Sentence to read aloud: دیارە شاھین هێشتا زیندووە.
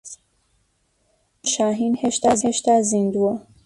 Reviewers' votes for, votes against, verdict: 0, 2, rejected